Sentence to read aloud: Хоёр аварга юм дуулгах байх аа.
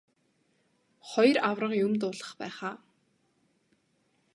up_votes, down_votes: 2, 0